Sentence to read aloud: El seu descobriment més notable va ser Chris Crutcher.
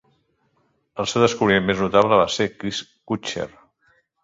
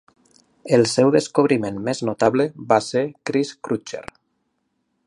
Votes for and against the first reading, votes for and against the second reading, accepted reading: 0, 2, 2, 0, second